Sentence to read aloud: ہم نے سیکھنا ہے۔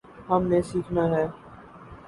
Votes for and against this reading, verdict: 2, 0, accepted